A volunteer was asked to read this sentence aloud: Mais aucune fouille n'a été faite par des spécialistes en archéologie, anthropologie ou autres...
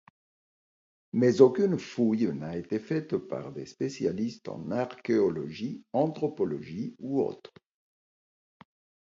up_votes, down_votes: 2, 1